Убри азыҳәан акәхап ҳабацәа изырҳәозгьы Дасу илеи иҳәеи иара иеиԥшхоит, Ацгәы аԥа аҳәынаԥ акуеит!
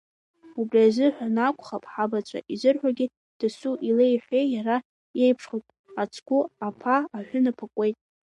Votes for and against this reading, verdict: 2, 1, accepted